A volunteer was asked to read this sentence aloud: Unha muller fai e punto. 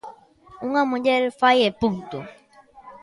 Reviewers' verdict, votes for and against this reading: accepted, 2, 0